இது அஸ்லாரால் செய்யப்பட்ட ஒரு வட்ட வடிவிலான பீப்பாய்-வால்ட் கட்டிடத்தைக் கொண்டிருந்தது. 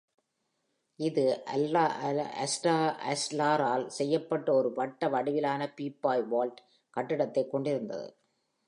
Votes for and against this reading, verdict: 0, 2, rejected